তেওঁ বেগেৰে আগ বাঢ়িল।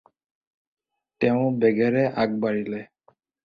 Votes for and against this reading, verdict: 2, 4, rejected